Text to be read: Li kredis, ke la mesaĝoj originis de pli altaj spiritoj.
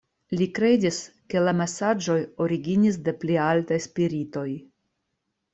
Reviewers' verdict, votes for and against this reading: accepted, 2, 0